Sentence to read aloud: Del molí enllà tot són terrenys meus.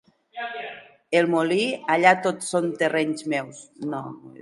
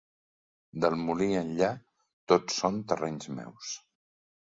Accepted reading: second